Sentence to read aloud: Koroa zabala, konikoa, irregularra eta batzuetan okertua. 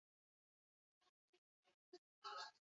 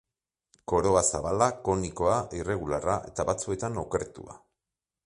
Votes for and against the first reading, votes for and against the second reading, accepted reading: 2, 4, 2, 0, second